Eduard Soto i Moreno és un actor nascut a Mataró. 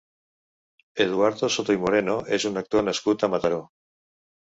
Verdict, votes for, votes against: rejected, 1, 2